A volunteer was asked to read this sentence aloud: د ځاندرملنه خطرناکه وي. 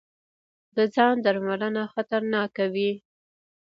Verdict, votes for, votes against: rejected, 0, 2